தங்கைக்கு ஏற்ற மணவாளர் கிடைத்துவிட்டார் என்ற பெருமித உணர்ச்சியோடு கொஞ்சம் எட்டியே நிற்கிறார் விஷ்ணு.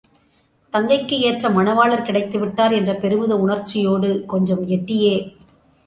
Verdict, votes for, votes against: rejected, 0, 2